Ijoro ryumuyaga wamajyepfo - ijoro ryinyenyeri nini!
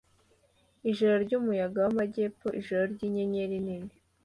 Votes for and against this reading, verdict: 2, 0, accepted